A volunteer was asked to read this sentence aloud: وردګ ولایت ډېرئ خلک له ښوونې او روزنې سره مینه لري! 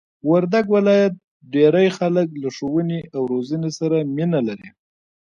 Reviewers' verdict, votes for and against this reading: rejected, 1, 2